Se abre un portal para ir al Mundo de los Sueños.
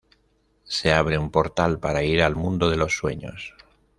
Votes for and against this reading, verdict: 2, 0, accepted